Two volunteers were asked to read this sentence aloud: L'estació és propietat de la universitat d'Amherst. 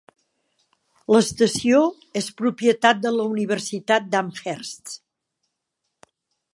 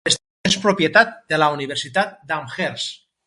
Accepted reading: first